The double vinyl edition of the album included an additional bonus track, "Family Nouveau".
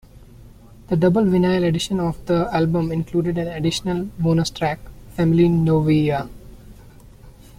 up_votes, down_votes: 0, 2